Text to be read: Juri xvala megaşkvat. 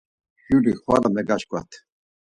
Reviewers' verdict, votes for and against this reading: accepted, 4, 0